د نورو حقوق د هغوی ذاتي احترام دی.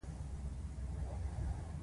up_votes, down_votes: 0, 2